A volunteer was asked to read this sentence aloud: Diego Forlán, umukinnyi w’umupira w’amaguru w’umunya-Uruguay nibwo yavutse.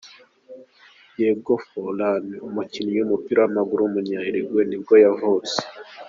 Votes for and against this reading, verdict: 2, 0, accepted